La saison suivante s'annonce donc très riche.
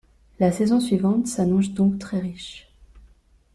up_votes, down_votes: 1, 2